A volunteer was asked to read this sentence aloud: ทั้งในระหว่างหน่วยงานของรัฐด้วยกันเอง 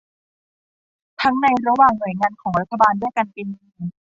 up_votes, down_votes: 0, 2